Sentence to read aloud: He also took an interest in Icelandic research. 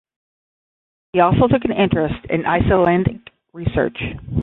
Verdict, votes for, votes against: rejected, 5, 10